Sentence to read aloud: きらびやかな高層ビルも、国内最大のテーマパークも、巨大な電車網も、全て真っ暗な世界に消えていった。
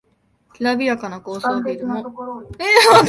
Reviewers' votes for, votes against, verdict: 0, 2, rejected